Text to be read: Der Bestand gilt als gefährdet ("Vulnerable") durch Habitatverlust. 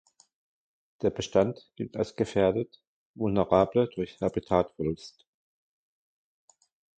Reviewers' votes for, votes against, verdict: 1, 2, rejected